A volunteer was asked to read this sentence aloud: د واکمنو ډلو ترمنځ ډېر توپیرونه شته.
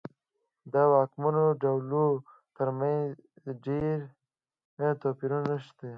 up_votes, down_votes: 0, 2